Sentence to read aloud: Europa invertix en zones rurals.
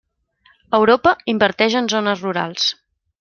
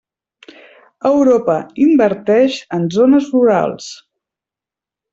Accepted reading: second